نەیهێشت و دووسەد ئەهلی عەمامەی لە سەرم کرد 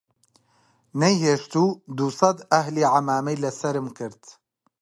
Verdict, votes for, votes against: accepted, 3, 0